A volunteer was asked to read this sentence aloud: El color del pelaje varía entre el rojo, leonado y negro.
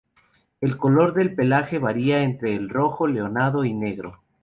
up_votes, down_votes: 2, 0